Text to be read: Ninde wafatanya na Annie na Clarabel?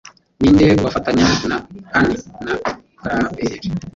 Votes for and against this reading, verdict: 0, 2, rejected